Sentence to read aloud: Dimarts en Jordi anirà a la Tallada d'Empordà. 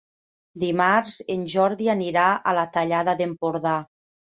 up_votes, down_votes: 3, 0